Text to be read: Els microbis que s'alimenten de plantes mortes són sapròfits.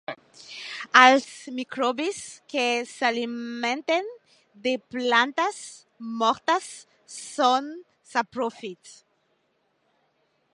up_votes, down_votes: 0, 2